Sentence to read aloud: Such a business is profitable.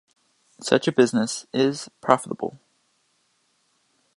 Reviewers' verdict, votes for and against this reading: accepted, 2, 0